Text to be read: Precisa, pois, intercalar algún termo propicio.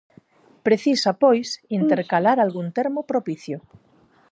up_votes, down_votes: 2, 2